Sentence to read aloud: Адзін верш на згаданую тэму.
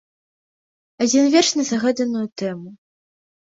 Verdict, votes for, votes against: rejected, 1, 2